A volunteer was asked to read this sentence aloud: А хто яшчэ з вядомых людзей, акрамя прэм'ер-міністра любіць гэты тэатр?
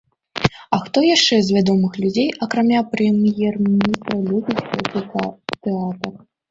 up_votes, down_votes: 1, 2